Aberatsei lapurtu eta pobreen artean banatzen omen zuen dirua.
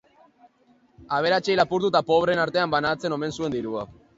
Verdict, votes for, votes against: rejected, 0, 2